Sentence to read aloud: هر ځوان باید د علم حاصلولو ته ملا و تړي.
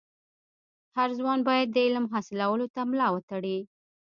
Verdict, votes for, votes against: accepted, 2, 1